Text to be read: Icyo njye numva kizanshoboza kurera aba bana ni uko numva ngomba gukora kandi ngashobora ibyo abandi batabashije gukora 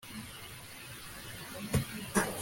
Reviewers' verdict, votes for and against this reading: rejected, 0, 2